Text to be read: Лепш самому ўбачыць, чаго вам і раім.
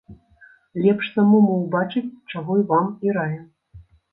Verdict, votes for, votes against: rejected, 1, 2